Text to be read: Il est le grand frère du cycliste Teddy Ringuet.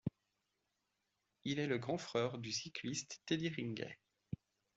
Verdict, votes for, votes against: rejected, 0, 2